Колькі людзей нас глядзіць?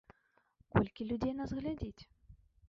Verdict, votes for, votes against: rejected, 1, 2